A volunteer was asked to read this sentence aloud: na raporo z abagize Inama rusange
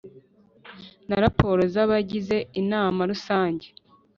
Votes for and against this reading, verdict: 3, 0, accepted